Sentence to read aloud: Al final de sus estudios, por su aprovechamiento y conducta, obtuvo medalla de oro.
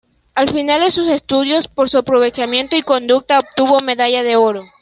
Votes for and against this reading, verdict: 2, 0, accepted